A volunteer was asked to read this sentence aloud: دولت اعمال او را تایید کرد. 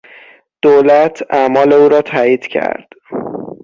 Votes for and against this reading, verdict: 6, 0, accepted